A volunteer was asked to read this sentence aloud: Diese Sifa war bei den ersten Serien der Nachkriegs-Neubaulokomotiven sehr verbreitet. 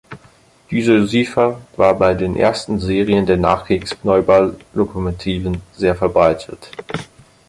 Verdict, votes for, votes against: rejected, 2, 4